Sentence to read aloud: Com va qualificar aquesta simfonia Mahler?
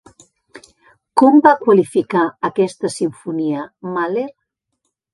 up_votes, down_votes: 2, 0